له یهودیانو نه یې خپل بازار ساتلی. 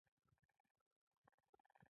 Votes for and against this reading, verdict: 1, 2, rejected